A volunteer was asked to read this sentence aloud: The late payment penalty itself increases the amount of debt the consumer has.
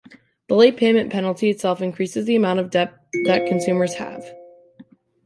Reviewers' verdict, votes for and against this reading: rejected, 0, 2